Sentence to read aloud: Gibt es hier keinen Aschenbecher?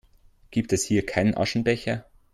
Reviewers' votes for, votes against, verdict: 2, 0, accepted